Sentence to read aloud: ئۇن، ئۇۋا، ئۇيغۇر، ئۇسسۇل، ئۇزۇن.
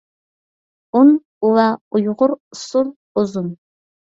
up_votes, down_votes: 2, 0